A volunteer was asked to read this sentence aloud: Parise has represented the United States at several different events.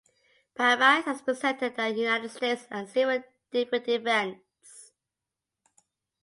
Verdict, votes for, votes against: rejected, 1, 2